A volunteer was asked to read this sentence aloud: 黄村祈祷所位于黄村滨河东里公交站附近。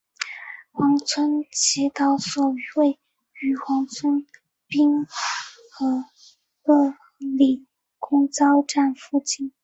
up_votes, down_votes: 0, 2